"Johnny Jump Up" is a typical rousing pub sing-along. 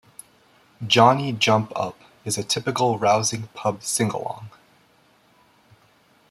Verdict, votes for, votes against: accepted, 2, 1